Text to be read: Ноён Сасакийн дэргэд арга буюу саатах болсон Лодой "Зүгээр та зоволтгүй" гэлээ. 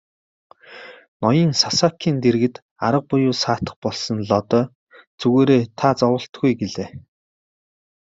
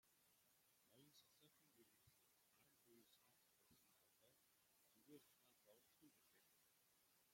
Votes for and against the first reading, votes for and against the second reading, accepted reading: 2, 0, 0, 2, first